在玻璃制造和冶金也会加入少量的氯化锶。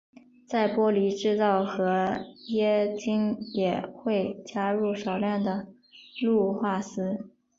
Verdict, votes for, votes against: rejected, 1, 2